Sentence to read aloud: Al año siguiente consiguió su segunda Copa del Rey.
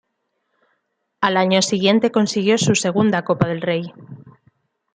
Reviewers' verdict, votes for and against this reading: accepted, 2, 0